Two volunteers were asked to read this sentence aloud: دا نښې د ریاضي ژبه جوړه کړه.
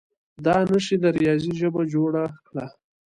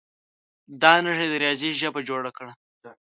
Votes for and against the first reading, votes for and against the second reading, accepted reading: 2, 0, 0, 2, first